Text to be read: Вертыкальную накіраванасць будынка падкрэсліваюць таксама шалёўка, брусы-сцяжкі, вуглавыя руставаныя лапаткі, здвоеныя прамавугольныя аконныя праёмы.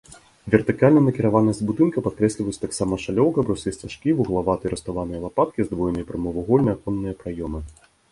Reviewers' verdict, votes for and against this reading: rejected, 1, 2